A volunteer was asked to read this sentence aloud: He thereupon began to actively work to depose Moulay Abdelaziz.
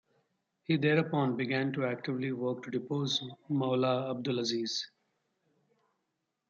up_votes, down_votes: 2, 0